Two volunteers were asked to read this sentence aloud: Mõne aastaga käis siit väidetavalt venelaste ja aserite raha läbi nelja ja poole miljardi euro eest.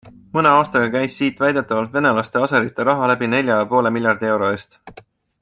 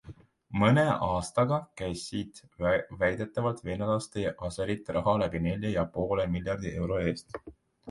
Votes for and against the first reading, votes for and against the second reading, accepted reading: 2, 0, 1, 2, first